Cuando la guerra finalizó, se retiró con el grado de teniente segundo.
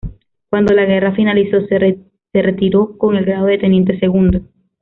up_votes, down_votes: 0, 2